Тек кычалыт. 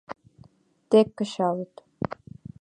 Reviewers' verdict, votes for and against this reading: accepted, 3, 0